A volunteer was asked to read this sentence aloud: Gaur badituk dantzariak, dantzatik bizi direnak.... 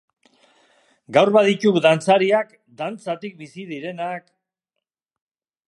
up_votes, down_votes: 2, 0